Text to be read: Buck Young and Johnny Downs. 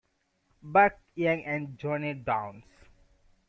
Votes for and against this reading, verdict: 1, 2, rejected